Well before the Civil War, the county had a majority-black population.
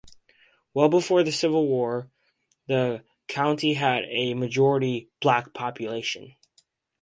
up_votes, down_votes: 2, 2